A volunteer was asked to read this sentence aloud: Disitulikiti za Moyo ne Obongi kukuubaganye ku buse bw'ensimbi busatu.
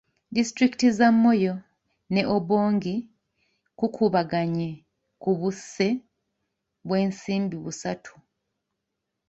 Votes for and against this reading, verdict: 1, 2, rejected